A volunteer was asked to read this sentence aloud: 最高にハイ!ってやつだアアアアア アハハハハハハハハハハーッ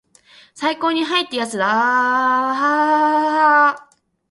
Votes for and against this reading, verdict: 2, 1, accepted